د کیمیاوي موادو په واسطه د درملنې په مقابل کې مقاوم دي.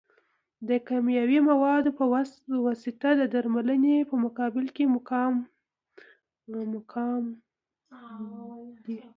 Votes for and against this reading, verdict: 1, 2, rejected